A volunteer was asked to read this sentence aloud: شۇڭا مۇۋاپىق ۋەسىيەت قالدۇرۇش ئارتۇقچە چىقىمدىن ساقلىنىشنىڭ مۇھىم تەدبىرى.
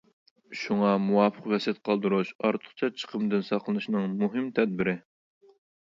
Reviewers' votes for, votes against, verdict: 2, 0, accepted